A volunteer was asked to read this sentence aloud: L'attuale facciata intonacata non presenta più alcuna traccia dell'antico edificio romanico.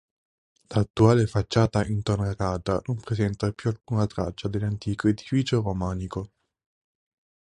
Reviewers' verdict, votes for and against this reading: accepted, 2, 0